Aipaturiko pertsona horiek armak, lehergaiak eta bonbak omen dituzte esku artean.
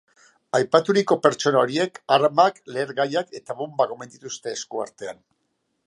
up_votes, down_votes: 2, 0